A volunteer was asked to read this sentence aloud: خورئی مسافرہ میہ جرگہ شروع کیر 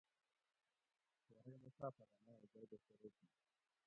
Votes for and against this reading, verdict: 0, 2, rejected